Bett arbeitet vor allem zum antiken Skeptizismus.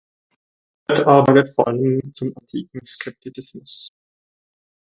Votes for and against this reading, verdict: 0, 4, rejected